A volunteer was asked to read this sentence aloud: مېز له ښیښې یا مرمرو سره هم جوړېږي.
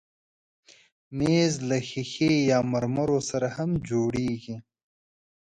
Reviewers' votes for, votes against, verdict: 2, 1, accepted